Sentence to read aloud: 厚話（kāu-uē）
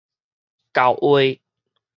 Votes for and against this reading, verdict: 4, 0, accepted